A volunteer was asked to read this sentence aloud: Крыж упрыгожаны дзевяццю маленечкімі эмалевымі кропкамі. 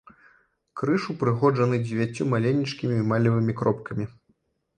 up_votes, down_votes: 1, 3